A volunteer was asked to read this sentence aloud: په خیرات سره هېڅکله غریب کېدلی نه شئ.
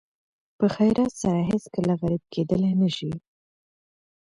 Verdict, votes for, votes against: accepted, 2, 1